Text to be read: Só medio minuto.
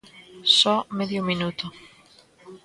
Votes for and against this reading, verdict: 1, 2, rejected